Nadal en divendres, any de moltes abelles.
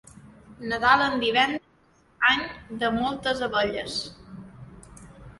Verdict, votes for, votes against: rejected, 0, 2